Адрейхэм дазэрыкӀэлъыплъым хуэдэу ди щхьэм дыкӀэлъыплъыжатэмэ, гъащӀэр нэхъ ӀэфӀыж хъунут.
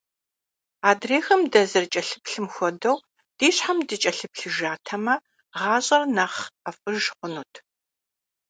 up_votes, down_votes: 2, 0